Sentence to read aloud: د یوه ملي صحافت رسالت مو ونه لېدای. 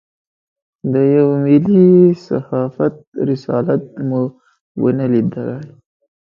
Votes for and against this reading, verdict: 2, 0, accepted